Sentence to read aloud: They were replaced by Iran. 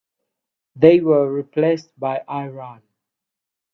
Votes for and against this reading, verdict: 6, 0, accepted